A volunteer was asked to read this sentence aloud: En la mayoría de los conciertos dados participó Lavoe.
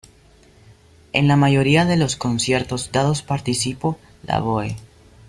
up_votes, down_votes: 1, 2